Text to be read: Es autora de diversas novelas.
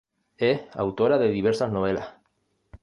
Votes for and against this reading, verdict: 1, 2, rejected